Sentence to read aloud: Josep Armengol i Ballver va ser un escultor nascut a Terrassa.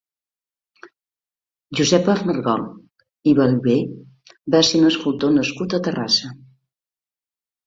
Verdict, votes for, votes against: accepted, 2, 0